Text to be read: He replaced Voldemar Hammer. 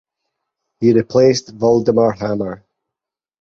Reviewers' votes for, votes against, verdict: 4, 0, accepted